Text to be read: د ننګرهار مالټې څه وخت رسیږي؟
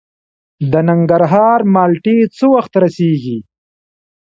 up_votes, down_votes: 2, 0